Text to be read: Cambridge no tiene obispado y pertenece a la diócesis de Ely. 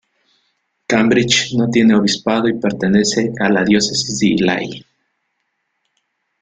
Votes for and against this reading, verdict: 2, 0, accepted